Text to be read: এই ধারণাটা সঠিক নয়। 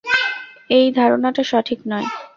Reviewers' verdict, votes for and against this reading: accepted, 4, 0